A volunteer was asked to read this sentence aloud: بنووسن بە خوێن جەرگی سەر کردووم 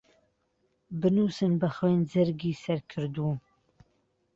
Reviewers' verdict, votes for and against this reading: accepted, 2, 0